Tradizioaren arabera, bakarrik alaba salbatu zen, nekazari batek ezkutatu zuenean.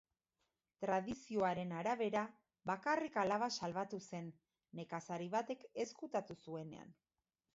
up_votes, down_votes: 2, 1